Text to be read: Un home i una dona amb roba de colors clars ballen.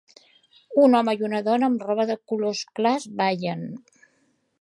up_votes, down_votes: 2, 0